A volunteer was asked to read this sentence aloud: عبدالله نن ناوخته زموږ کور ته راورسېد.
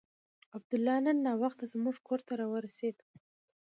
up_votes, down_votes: 2, 1